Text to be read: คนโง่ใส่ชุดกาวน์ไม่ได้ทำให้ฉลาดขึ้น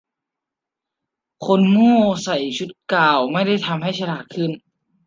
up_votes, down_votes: 2, 0